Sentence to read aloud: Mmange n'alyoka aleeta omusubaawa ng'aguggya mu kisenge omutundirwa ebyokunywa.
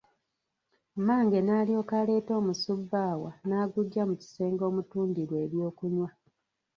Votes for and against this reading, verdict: 1, 2, rejected